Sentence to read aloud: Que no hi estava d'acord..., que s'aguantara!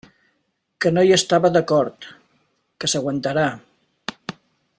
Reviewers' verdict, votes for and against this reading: rejected, 1, 2